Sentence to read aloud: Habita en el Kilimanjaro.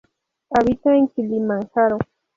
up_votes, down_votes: 0, 2